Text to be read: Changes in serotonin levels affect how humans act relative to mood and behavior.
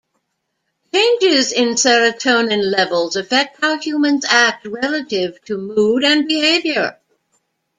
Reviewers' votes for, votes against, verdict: 2, 0, accepted